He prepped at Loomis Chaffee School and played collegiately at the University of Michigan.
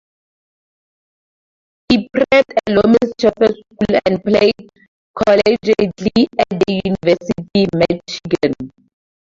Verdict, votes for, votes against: accepted, 4, 2